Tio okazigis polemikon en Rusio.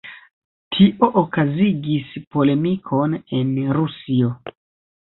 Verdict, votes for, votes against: accepted, 2, 1